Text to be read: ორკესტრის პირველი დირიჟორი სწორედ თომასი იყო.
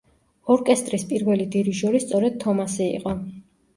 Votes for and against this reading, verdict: 3, 0, accepted